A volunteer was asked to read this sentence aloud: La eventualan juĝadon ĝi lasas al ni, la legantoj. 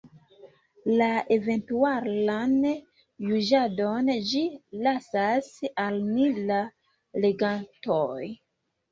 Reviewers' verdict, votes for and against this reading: rejected, 1, 2